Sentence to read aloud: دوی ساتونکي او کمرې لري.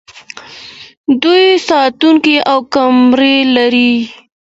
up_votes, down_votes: 2, 0